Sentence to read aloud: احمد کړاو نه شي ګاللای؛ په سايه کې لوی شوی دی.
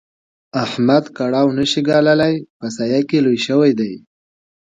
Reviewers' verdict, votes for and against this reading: accepted, 2, 0